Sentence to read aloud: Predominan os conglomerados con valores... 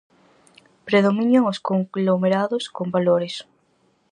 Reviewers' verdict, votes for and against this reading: rejected, 2, 2